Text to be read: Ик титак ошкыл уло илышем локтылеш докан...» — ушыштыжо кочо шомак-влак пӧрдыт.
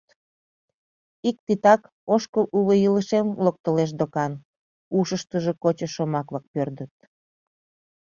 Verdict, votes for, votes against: accepted, 2, 0